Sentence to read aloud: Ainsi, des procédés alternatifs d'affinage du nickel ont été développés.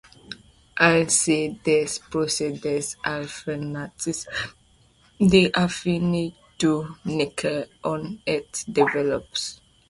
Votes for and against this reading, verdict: 0, 2, rejected